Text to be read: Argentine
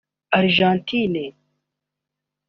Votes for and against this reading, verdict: 1, 2, rejected